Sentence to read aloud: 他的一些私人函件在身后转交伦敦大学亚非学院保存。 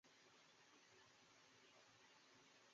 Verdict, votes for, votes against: rejected, 0, 3